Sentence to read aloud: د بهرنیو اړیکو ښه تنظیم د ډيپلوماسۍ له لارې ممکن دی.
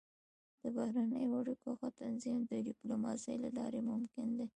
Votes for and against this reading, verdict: 1, 2, rejected